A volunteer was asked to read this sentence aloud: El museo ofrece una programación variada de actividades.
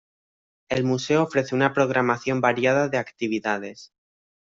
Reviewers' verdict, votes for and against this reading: accepted, 2, 0